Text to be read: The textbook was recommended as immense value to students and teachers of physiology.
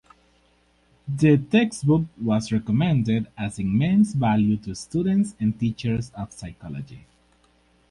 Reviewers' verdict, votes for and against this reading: rejected, 2, 4